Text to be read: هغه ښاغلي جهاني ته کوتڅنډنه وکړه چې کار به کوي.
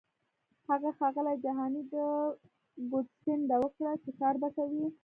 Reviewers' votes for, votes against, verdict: 1, 2, rejected